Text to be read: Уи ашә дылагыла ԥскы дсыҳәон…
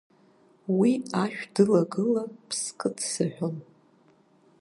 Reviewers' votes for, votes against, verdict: 3, 1, accepted